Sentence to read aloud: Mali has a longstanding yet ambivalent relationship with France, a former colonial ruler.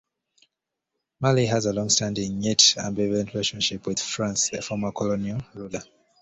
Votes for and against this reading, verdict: 2, 1, accepted